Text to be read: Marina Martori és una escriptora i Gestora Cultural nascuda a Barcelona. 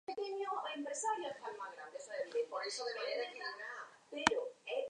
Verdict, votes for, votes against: rejected, 0, 4